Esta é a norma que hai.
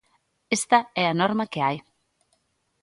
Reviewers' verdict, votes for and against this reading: accepted, 2, 0